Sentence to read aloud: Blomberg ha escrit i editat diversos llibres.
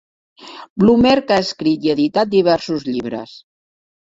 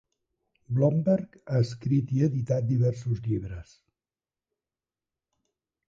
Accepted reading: second